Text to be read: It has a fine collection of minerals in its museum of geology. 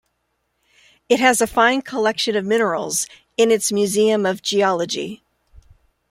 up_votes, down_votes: 2, 0